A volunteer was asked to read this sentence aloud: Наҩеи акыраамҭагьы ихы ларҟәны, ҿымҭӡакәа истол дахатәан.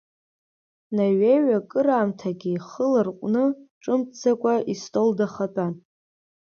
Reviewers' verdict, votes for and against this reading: accepted, 2, 0